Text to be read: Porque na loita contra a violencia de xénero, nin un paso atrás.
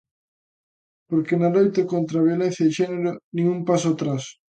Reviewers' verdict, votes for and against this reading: accepted, 2, 0